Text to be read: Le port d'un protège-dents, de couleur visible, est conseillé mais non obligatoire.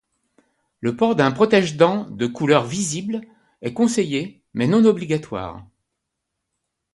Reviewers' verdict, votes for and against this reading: accepted, 2, 0